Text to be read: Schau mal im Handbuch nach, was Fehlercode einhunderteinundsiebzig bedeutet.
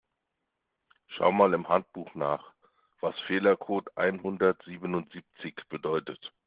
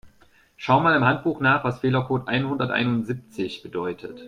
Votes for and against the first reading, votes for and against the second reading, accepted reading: 0, 2, 2, 0, second